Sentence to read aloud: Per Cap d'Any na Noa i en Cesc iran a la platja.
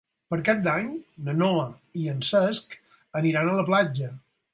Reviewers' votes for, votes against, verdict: 0, 4, rejected